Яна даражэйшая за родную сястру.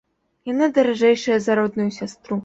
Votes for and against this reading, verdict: 2, 0, accepted